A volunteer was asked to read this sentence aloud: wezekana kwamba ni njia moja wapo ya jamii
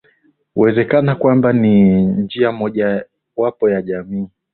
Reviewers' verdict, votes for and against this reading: rejected, 0, 2